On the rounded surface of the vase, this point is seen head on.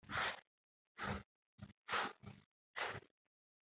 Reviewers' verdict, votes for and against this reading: rejected, 0, 2